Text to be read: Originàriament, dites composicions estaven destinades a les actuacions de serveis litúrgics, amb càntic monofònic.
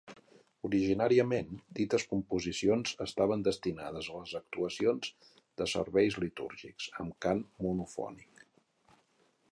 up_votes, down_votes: 1, 2